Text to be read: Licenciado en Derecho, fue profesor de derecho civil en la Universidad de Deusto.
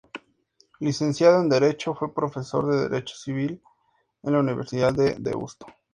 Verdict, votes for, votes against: accepted, 2, 0